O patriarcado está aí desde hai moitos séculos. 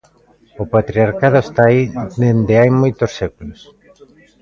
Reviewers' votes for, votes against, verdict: 2, 0, accepted